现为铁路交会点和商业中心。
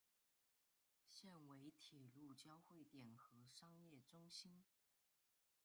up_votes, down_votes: 0, 2